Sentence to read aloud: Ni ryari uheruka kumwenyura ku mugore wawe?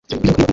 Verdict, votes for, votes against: rejected, 1, 2